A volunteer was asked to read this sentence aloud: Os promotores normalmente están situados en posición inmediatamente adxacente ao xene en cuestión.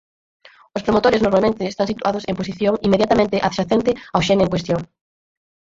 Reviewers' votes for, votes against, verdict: 2, 4, rejected